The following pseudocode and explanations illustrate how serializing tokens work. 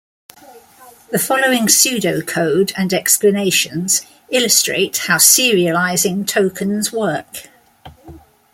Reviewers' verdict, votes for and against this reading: accepted, 2, 0